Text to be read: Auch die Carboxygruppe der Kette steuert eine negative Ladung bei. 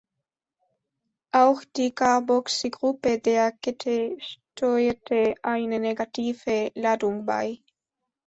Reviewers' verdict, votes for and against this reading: rejected, 1, 2